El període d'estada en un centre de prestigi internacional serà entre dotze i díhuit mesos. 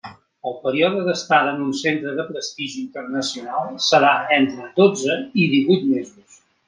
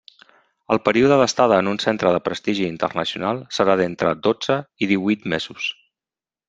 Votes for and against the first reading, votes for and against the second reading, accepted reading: 2, 1, 1, 2, first